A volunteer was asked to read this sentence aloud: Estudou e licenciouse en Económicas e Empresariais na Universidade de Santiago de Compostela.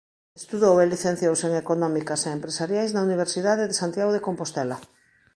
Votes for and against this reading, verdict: 2, 0, accepted